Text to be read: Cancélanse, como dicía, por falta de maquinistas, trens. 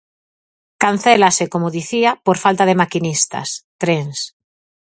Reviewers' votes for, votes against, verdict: 0, 4, rejected